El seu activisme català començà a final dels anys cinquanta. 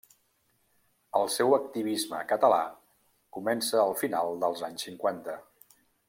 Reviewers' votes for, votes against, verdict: 1, 2, rejected